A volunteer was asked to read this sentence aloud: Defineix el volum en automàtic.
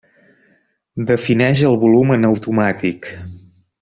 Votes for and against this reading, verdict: 3, 0, accepted